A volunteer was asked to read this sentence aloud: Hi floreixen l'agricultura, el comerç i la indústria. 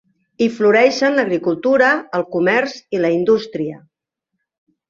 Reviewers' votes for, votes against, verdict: 3, 0, accepted